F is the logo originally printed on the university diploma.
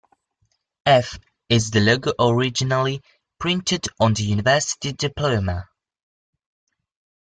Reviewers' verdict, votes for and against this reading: rejected, 1, 2